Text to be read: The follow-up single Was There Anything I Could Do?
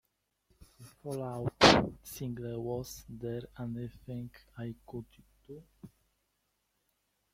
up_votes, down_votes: 0, 2